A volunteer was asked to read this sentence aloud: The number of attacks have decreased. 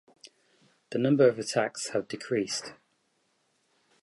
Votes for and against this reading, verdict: 2, 0, accepted